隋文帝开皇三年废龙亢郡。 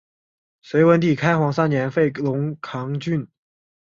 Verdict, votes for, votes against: accepted, 2, 0